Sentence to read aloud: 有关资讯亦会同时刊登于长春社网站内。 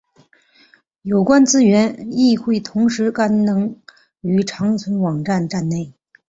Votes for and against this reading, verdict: 1, 3, rejected